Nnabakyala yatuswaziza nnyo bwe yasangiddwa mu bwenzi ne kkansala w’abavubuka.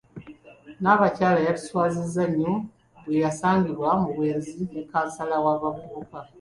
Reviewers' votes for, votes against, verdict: 2, 0, accepted